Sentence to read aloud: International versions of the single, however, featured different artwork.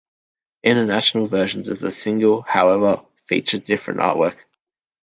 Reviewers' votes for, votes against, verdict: 2, 0, accepted